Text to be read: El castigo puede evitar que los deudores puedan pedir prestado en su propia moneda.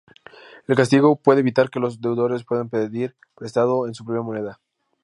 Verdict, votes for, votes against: accepted, 2, 0